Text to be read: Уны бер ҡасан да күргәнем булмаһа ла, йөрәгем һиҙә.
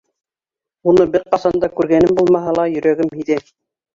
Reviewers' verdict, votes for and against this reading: rejected, 0, 2